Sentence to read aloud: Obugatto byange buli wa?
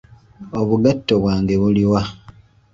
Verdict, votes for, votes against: rejected, 1, 2